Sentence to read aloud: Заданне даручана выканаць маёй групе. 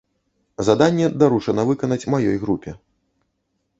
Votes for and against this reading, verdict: 2, 0, accepted